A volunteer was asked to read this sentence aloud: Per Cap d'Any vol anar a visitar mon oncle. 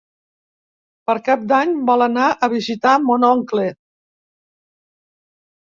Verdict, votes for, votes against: accepted, 3, 0